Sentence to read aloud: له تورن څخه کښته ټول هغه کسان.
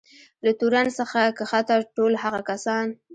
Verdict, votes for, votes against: rejected, 1, 2